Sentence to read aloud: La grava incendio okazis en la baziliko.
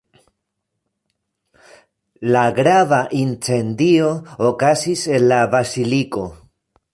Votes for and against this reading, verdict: 0, 2, rejected